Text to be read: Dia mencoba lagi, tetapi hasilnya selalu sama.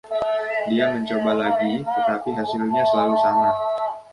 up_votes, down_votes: 0, 2